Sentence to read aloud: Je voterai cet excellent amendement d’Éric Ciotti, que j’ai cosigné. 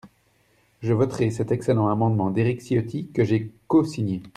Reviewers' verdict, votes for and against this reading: accepted, 2, 0